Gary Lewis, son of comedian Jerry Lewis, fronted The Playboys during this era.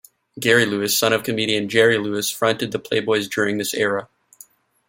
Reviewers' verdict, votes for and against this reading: accepted, 2, 0